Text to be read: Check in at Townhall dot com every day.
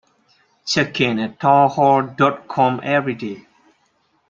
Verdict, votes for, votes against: accepted, 2, 0